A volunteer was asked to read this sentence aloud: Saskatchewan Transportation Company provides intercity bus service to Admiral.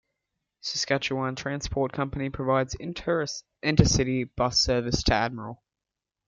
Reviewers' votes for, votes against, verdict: 1, 2, rejected